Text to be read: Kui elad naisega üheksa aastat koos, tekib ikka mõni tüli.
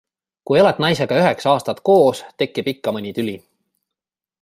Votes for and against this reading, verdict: 2, 0, accepted